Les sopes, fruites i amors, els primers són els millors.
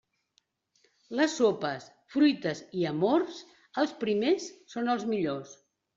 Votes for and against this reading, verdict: 2, 0, accepted